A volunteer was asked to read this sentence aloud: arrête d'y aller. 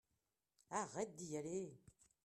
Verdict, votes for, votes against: accepted, 2, 0